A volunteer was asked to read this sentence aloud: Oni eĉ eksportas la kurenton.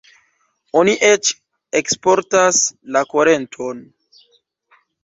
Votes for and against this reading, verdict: 0, 2, rejected